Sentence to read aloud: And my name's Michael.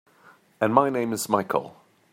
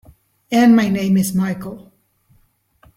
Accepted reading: second